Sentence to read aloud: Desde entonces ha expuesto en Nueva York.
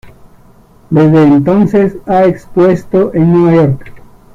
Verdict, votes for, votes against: rejected, 1, 2